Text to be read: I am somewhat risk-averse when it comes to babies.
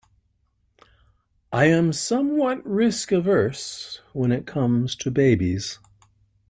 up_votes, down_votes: 2, 0